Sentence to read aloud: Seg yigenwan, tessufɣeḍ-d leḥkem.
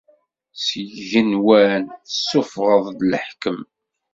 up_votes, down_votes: 2, 0